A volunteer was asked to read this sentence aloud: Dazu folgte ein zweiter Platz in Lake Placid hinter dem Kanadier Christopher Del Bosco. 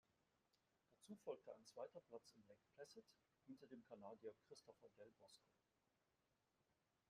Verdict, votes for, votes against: rejected, 0, 2